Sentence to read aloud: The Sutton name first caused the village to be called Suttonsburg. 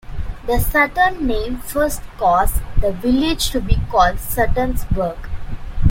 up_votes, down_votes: 0, 2